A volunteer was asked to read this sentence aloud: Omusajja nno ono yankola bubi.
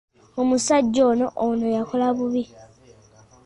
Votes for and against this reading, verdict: 2, 1, accepted